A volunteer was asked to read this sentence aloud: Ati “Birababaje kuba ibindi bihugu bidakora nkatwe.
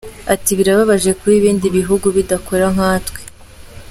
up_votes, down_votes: 2, 0